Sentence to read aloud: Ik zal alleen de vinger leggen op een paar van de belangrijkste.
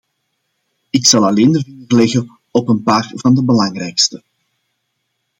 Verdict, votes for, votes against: rejected, 0, 2